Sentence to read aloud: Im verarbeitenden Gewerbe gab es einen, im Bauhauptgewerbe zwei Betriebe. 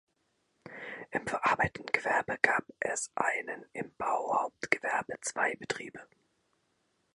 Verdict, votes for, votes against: rejected, 1, 2